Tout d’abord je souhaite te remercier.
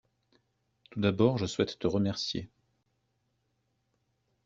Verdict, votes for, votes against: accepted, 2, 0